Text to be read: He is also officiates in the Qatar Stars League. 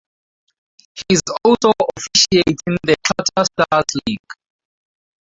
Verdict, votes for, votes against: rejected, 2, 4